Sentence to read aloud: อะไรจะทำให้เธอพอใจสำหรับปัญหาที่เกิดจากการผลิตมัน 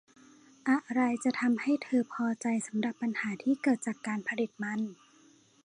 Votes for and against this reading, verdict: 2, 0, accepted